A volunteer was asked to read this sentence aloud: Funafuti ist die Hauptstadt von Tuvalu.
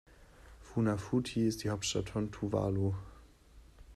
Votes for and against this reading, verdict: 2, 0, accepted